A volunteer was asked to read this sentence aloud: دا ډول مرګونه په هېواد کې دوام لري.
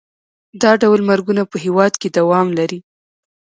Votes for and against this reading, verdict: 1, 2, rejected